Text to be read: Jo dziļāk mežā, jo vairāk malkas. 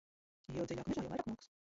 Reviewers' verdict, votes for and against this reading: rejected, 0, 2